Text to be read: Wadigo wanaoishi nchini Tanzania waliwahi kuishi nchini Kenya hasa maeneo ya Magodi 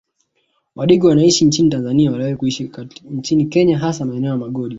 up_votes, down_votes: 0, 2